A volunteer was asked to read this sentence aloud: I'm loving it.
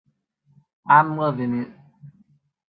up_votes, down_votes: 2, 0